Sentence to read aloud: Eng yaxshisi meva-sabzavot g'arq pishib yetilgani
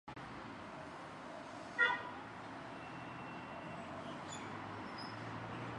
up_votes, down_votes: 1, 2